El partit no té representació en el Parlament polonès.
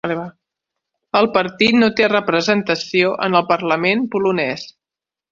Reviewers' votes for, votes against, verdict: 1, 2, rejected